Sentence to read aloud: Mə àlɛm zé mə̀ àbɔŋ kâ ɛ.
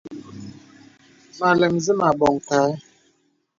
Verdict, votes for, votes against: accepted, 2, 0